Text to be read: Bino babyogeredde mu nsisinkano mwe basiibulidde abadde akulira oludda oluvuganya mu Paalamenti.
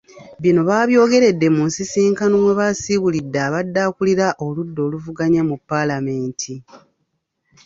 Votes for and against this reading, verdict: 1, 2, rejected